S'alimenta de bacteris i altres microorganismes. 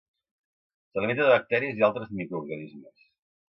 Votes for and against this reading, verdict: 2, 0, accepted